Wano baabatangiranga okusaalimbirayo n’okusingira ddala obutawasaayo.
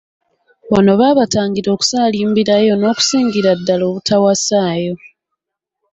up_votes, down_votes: 2, 0